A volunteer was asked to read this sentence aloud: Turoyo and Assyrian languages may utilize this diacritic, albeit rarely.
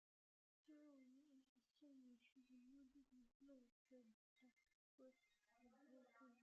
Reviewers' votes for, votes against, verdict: 0, 2, rejected